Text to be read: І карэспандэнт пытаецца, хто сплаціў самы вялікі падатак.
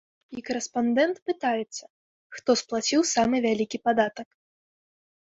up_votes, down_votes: 2, 1